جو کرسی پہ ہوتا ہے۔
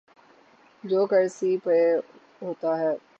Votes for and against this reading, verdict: 0, 6, rejected